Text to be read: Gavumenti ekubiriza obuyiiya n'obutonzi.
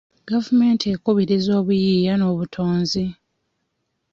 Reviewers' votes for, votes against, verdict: 2, 1, accepted